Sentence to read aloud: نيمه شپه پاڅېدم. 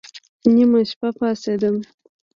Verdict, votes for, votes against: accepted, 2, 1